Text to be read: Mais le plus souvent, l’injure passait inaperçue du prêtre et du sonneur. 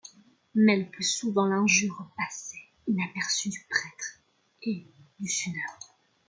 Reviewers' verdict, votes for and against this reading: accepted, 2, 1